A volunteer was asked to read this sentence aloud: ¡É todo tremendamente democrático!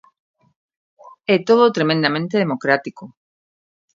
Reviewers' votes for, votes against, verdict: 2, 0, accepted